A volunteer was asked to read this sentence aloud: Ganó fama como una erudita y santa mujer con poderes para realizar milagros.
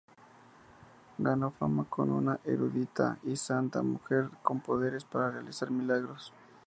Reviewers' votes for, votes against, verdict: 0, 2, rejected